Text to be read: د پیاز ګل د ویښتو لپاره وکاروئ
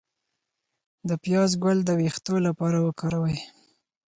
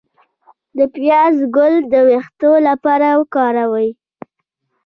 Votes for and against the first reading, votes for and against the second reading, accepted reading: 4, 0, 1, 2, first